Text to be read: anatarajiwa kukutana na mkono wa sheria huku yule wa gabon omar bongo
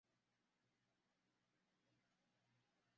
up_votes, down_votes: 0, 2